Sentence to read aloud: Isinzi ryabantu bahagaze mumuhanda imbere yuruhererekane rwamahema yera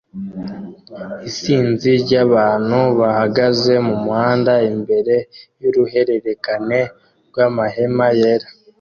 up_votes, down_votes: 2, 1